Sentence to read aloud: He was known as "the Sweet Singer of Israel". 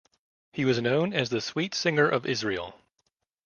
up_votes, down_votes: 1, 2